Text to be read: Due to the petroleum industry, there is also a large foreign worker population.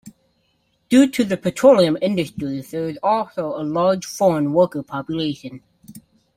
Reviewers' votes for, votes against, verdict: 0, 2, rejected